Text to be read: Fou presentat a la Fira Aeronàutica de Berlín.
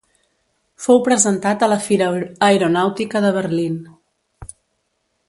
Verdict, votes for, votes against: rejected, 0, 2